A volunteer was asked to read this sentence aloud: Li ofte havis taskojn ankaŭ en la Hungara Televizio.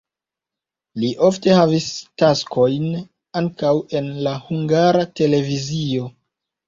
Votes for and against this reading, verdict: 2, 1, accepted